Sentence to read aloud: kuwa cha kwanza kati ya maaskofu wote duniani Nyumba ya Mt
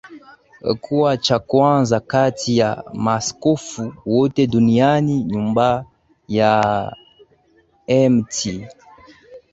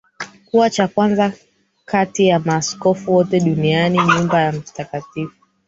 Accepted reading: first